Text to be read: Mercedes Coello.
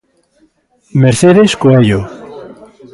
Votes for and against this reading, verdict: 2, 1, accepted